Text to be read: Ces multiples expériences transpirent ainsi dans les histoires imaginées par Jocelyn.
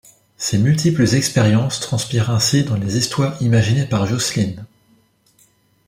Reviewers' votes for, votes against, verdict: 1, 2, rejected